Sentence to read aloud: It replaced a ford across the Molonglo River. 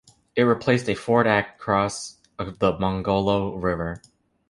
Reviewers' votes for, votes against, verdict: 0, 2, rejected